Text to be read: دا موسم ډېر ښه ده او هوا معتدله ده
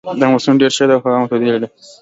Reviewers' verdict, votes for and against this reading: accepted, 2, 0